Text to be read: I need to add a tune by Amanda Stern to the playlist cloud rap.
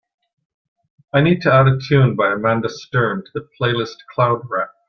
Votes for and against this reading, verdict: 3, 0, accepted